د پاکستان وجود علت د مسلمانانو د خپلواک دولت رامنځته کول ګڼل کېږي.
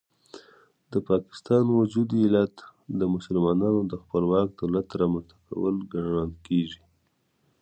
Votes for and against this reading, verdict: 2, 0, accepted